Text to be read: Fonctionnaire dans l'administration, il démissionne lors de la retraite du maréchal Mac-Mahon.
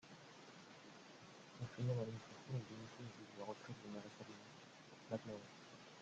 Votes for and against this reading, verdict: 0, 2, rejected